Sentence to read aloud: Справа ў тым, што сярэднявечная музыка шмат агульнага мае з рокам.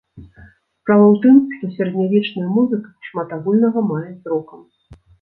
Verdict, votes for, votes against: accepted, 2, 0